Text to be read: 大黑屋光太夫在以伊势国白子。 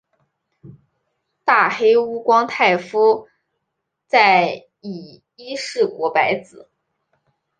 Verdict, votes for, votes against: accepted, 2, 0